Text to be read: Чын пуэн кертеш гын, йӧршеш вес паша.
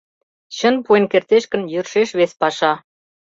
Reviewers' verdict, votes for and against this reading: accepted, 2, 0